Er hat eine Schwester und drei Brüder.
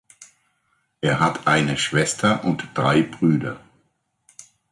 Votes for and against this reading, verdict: 2, 0, accepted